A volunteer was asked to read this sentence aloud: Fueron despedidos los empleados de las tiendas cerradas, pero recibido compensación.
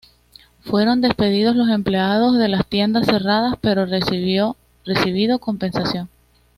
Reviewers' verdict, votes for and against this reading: rejected, 1, 2